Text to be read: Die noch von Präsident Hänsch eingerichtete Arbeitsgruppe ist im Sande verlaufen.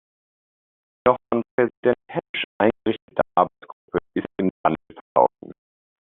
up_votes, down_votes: 1, 2